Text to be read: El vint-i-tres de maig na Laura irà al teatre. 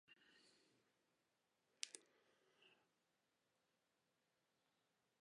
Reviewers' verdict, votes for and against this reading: rejected, 0, 2